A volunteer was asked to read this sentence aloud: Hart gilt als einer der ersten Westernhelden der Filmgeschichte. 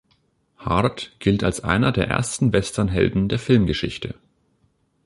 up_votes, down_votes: 2, 0